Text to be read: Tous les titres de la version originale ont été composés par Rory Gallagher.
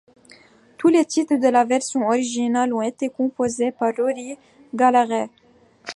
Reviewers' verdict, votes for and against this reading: rejected, 1, 2